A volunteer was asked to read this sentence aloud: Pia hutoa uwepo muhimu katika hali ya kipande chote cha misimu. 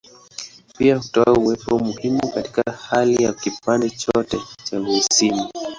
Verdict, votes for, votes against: rejected, 1, 3